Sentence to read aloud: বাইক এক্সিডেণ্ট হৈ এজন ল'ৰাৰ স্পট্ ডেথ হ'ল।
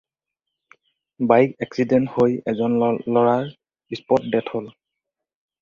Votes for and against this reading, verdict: 2, 2, rejected